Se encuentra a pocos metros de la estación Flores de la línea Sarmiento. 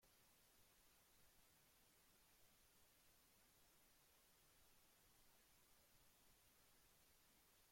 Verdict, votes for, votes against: rejected, 0, 2